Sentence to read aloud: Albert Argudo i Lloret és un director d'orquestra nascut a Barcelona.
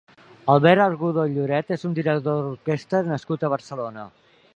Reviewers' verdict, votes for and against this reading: rejected, 2, 3